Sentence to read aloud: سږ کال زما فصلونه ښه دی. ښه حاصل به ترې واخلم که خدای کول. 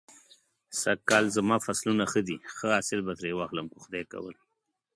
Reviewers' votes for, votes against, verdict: 1, 3, rejected